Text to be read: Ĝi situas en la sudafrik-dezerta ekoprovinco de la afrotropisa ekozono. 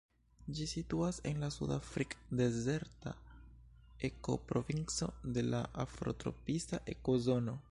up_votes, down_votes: 3, 1